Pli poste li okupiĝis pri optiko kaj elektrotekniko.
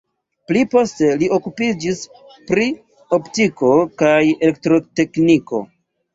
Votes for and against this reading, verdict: 1, 2, rejected